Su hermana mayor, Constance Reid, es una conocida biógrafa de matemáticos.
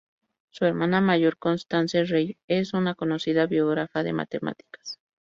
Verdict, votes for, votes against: rejected, 0, 2